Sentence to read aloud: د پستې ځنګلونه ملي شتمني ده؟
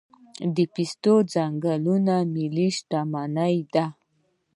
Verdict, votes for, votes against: rejected, 1, 2